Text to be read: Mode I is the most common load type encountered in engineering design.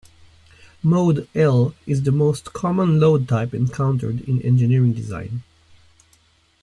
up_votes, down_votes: 1, 2